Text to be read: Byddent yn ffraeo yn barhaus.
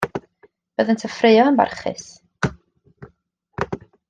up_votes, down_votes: 2, 1